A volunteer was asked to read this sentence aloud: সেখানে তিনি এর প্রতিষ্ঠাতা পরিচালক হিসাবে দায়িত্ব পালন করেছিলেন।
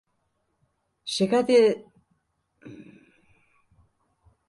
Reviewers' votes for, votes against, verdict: 0, 2, rejected